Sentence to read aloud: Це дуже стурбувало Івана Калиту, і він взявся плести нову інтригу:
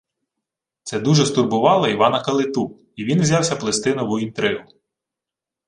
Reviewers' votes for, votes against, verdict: 2, 1, accepted